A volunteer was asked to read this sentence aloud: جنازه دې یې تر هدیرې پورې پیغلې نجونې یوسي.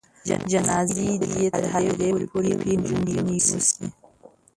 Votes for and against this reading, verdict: 0, 2, rejected